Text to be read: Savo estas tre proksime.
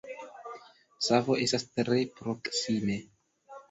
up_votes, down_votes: 2, 0